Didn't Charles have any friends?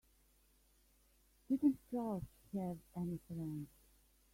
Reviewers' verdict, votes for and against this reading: rejected, 0, 3